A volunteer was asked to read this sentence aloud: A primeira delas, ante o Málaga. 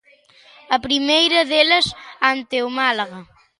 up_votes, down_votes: 2, 0